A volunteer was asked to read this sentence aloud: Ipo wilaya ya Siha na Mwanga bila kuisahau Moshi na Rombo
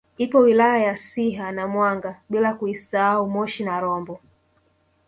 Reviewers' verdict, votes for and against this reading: rejected, 0, 2